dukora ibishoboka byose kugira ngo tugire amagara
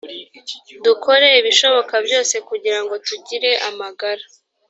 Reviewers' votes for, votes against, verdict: 1, 2, rejected